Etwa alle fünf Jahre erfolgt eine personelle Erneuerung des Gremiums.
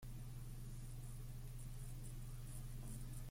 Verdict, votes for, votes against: rejected, 0, 2